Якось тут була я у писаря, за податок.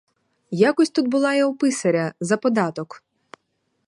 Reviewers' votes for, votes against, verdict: 4, 0, accepted